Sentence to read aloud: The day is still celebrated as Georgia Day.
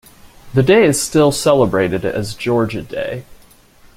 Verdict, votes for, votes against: accepted, 2, 0